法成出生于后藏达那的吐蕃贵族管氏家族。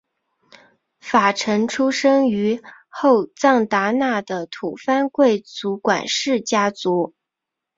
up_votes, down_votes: 4, 0